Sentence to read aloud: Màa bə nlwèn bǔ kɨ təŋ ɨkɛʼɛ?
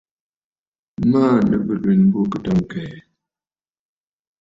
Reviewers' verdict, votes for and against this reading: accepted, 2, 0